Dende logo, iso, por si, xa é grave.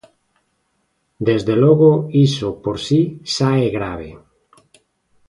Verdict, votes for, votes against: rejected, 0, 2